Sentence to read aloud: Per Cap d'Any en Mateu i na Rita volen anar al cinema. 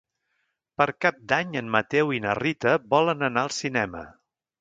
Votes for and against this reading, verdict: 3, 0, accepted